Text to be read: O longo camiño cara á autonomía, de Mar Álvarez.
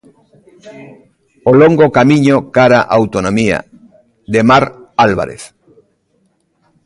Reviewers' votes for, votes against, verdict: 1, 2, rejected